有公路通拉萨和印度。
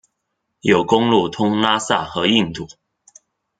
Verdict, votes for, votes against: accepted, 2, 0